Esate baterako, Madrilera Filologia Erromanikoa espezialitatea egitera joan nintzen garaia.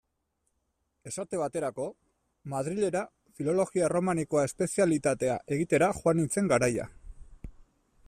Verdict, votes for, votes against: accepted, 2, 1